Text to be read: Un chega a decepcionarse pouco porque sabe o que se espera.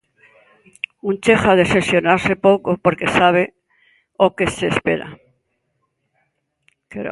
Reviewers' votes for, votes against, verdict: 0, 2, rejected